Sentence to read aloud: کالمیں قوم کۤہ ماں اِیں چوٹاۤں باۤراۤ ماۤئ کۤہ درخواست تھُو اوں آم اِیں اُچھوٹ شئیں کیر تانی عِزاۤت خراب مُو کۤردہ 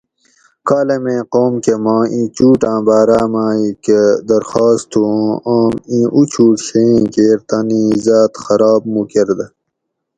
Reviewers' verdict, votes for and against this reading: accepted, 4, 0